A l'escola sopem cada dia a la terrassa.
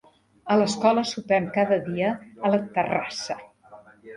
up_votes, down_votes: 2, 1